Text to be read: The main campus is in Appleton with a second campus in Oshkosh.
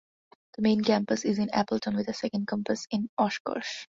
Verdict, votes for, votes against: accepted, 2, 0